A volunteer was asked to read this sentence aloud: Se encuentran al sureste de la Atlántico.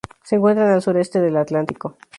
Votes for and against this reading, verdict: 0, 2, rejected